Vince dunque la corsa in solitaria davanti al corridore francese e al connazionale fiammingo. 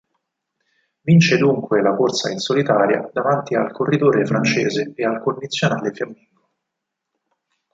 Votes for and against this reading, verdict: 0, 4, rejected